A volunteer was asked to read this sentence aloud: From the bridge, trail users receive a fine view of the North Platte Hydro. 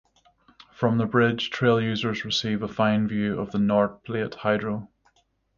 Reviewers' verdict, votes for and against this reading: rejected, 3, 3